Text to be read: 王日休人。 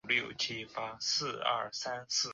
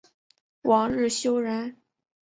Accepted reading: second